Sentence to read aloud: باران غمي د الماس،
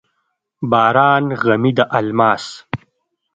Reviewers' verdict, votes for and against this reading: accepted, 2, 0